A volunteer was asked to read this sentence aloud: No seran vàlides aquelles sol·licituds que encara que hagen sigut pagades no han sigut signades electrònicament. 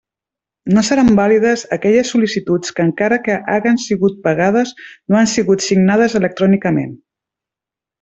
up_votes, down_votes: 1, 2